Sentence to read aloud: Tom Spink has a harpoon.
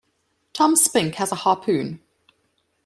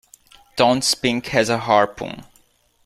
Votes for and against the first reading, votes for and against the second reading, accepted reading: 2, 0, 1, 2, first